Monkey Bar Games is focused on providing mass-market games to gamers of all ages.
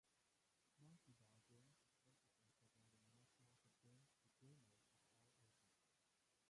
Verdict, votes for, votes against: rejected, 0, 2